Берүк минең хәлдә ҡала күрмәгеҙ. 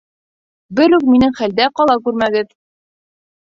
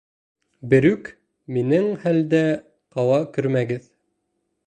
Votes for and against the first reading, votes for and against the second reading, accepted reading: 2, 1, 1, 2, first